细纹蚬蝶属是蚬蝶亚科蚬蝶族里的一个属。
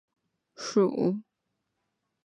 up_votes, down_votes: 2, 0